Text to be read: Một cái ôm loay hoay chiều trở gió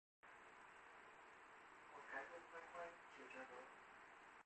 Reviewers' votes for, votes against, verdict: 1, 2, rejected